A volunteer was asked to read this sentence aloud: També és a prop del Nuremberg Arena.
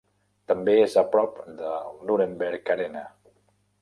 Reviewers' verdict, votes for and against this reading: rejected, 1, 2